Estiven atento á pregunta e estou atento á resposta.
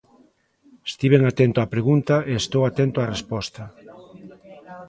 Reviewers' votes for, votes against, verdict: 1, 2, rejected